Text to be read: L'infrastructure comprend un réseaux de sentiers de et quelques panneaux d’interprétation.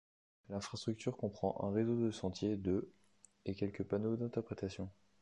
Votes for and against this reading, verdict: 1, 2, rejected